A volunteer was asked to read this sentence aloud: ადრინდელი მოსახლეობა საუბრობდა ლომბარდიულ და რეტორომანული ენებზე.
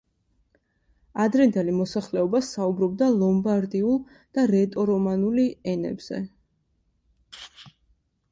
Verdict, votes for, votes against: accepted, 2, 0